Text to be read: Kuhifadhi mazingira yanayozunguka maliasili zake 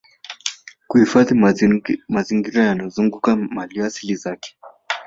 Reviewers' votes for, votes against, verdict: 1, 2, rejected